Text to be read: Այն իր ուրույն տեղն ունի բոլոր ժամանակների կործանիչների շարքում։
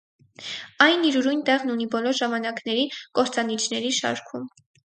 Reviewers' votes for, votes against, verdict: 4, 0, accepted